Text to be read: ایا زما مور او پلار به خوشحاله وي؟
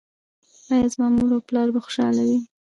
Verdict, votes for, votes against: rejected, 1, 2